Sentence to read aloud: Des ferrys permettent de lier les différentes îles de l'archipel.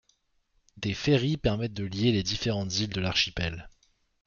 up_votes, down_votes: 2, 0